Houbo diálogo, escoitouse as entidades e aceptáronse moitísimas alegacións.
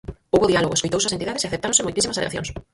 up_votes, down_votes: 0, 4